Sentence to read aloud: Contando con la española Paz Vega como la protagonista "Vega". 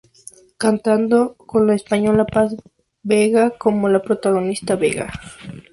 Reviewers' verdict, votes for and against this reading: accepted, 2, 0